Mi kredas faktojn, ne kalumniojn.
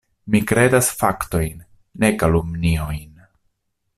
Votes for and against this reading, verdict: 2, 0, accepted